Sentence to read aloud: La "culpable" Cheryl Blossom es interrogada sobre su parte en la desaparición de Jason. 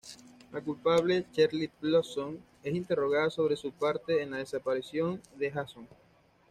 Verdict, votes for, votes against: accepted, 2, 0